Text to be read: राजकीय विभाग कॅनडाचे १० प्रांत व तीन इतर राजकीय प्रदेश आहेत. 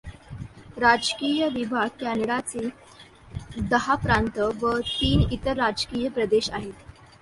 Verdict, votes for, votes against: rejected, 0, 2